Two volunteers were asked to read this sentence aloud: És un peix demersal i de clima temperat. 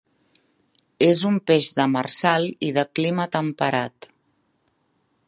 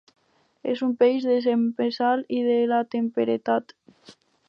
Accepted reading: first